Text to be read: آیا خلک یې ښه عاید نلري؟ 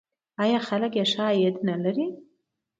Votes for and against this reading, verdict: 2, 0, accepted